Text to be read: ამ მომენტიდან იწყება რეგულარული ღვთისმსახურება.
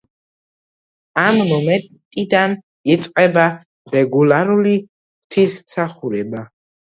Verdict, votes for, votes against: accepted, 2, 0